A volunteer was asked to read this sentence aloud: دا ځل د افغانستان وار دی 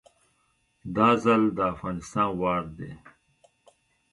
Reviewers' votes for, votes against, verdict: 2, 0, accepted